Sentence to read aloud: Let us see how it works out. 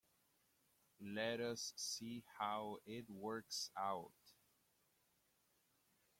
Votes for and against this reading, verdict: 2, 1, accepted